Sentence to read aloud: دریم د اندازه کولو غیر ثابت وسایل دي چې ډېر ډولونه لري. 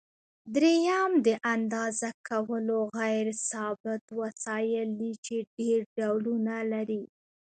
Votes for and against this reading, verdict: 0, 2, rejected